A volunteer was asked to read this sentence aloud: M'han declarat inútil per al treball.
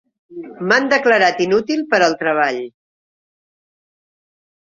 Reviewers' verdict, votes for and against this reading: accepted, 4, 0